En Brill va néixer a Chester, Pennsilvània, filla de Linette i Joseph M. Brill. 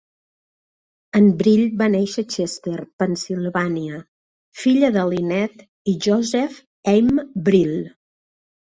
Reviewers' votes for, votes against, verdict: 4, 1, accepted